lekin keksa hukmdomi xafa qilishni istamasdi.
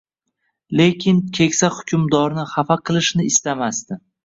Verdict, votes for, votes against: rejected, 0, 2